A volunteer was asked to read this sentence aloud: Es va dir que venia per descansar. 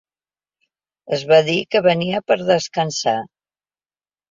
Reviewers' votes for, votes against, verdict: 2, 0, accepted